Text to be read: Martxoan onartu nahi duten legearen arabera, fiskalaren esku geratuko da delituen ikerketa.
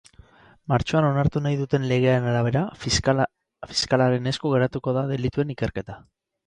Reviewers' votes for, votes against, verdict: 0, 4, rejected